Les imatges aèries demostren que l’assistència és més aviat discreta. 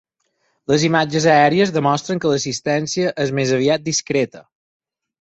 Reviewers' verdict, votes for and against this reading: accepted, 6, 0